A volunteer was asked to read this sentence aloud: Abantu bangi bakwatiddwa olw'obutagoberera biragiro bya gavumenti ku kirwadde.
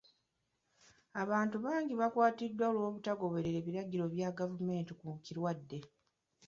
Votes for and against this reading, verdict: 1, 2, rejected